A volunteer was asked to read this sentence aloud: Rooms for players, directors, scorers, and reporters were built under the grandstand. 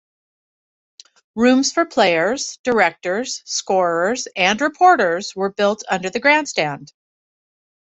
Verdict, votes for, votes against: accepted, 2, 0